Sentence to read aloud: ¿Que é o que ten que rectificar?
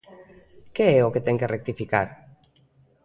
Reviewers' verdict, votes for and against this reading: rejected, 1, 2